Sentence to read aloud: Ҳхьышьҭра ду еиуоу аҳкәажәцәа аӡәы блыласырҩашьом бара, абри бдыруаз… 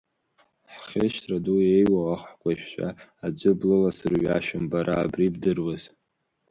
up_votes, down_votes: 3, 2